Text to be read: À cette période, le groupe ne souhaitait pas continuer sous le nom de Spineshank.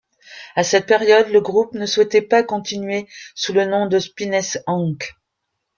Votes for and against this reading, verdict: 2, 0, accepted